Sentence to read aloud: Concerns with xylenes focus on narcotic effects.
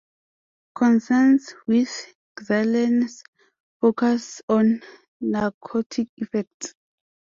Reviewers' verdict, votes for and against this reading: rejected, 0, 2